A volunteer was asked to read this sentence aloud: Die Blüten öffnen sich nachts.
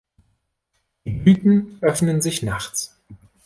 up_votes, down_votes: 1, 2